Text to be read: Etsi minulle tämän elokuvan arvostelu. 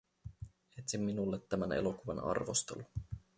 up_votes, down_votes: 0, 2